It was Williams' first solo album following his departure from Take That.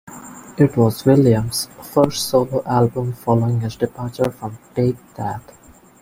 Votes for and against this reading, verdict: 2, 0, accepted